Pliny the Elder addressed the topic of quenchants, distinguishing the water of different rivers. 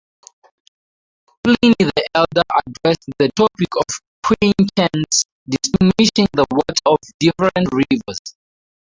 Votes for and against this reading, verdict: 0, 6, rejected